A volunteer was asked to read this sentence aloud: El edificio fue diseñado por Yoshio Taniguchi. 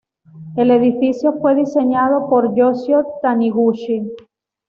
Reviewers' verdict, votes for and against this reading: accepted, 2, 0